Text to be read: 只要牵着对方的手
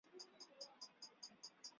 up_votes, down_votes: 0, 2